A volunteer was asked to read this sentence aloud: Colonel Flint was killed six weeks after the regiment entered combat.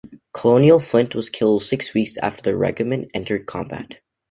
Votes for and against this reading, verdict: 0, 2, rejected